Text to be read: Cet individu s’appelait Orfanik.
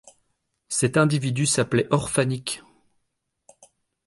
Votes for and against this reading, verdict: 2, 0, accepted